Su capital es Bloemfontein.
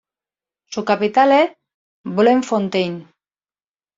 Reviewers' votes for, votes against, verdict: 2, 0, accepted